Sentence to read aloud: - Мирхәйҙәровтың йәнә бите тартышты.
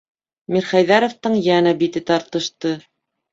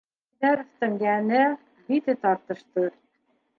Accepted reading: first